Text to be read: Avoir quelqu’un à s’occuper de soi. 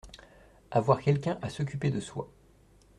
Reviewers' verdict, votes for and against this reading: accepted, 2, 0